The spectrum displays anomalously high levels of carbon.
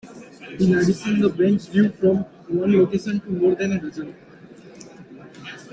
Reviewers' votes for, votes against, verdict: 0, 2, rejected